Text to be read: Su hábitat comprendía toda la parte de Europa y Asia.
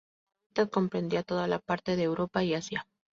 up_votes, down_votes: 0, 2